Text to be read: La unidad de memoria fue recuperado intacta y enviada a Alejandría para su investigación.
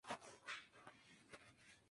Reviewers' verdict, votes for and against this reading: rejected, 0, 2